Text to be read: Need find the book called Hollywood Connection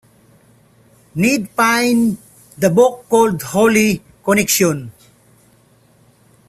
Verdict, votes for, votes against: rejected, 0, 2